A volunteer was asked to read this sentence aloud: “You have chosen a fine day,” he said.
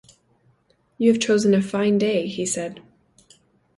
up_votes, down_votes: 2, 0